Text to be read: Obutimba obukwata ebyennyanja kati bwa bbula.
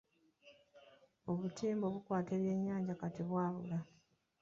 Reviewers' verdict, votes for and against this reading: accepted, 2, 0